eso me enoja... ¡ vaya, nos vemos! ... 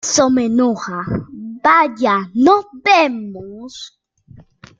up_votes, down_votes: 2, 1